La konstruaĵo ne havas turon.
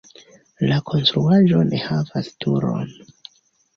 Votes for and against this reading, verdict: 2, 1, accepted